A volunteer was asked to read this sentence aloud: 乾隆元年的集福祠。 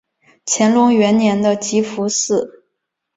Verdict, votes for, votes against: accepted, 2, 0